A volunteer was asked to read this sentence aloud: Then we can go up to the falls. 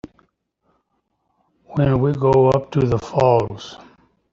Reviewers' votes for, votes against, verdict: 0, 2, rejected